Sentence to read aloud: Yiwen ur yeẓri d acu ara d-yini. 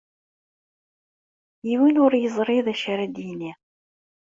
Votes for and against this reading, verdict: 2, 0, accepted